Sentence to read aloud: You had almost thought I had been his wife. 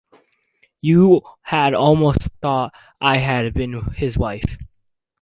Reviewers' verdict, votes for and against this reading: accepted, 2, 0